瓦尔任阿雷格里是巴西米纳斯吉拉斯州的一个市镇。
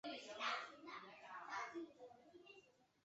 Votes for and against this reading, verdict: 0, 3, rejected